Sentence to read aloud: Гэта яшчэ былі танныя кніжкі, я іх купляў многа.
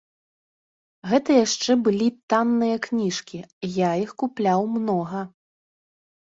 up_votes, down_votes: 2, 0